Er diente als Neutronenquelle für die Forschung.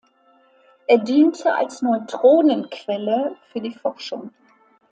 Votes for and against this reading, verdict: 2, 0, accepted